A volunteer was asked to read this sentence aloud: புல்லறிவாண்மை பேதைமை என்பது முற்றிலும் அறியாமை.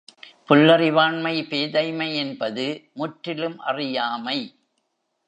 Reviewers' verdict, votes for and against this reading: accepted, 2, 0